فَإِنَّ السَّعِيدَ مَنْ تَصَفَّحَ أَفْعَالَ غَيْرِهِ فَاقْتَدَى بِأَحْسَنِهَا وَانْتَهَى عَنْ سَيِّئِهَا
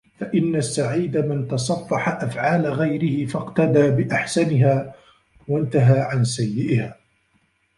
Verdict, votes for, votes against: rejected, 0, 2